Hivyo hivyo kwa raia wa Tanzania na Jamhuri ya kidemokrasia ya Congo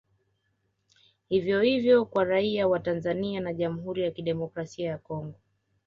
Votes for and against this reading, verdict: 2, 0, accepted